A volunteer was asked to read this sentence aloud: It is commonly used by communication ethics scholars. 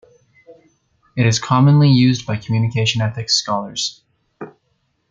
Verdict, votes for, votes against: accepted, 2, 0